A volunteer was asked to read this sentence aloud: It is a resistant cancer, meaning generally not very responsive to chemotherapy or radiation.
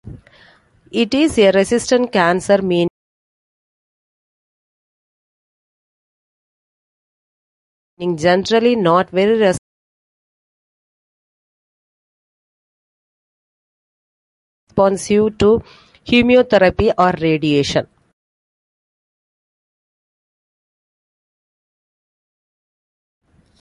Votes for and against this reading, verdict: 0, 2, rejected